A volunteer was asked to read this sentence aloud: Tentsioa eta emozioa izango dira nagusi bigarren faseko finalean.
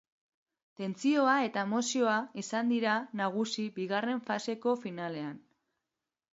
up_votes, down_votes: 0, 2